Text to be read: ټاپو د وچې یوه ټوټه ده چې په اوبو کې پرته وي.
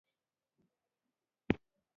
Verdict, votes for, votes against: accepted, 2, 1